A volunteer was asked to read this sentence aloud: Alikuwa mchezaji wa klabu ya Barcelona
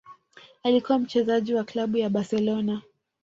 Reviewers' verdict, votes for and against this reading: rejected, 1, 2